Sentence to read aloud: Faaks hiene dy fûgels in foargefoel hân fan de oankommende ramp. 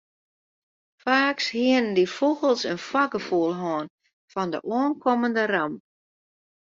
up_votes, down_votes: 0, 2